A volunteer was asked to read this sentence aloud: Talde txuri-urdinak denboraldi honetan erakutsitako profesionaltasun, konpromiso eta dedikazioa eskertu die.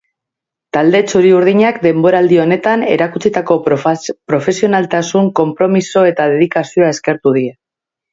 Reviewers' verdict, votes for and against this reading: rejected, 1, 2